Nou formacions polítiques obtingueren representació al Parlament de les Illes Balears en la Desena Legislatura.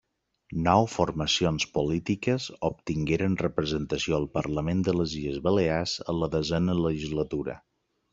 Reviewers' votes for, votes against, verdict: 2, 0, accepted